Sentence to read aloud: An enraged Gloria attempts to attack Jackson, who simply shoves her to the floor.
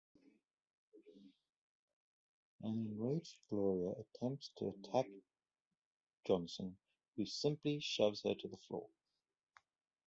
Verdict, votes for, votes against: rejected, 0, 3